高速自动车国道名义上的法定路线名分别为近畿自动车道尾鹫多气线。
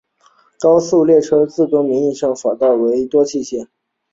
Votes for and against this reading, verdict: 2, 0, accepted